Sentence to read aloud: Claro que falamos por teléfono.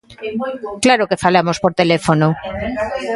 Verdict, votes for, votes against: accepted, 2, 0